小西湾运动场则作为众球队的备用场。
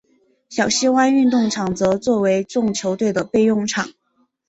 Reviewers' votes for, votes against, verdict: 2, 0, accepted